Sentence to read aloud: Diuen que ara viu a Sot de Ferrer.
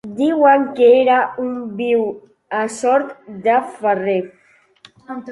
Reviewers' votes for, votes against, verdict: 0, 2, rejected